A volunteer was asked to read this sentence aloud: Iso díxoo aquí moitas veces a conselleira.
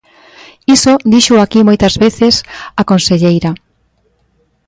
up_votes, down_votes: 2, 0